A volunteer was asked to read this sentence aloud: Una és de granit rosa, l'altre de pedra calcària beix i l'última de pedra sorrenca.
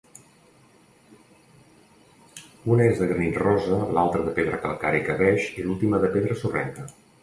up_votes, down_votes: 0, 2